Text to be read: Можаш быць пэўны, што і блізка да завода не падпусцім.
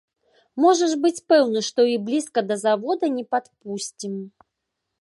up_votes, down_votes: 3, 0